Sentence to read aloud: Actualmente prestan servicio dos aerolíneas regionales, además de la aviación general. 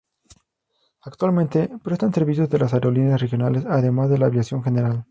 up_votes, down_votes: 0, 2